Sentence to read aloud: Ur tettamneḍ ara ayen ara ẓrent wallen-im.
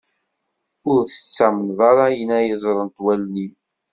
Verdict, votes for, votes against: accepted, 2, 0